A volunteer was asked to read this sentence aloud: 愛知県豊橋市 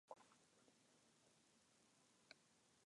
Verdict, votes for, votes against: rejected, 0, 3